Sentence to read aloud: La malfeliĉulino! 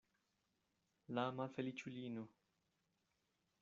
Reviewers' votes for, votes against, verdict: 1, 2, rejected